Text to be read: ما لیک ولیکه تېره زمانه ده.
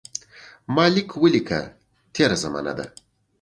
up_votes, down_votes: 2, 0